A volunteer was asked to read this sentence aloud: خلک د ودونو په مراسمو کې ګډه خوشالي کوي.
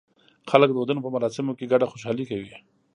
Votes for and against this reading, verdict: 1, 2, rejected